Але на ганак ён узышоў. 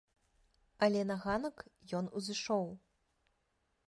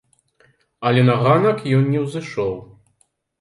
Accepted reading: first